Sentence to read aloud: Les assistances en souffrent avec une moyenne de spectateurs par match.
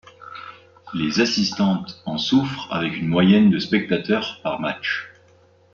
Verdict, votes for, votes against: rejected, 0, 2